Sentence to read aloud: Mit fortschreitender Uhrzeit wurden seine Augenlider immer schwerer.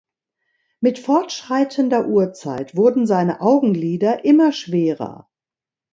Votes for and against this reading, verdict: 2, 0, accepted